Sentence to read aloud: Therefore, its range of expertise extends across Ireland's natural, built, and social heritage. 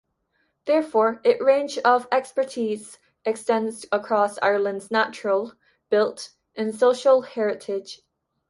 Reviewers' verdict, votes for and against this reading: rejected, 1, 2